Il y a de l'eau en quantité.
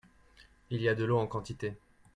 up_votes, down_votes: 2, 0